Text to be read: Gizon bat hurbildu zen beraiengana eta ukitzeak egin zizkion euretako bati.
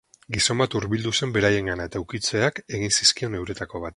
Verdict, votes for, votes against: rejected, 2, 6